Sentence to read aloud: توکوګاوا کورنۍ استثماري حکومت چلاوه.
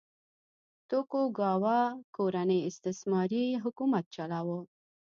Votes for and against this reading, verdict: 1, 2, rejected